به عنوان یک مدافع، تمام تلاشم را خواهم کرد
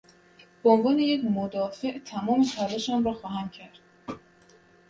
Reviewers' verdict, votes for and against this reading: accepted, 2, 0